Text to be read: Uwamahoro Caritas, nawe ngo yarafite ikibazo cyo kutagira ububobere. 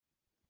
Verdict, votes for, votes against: rejected, 0, 2